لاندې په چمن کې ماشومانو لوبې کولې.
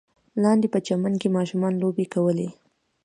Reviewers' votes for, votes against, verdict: 2, 0, accepted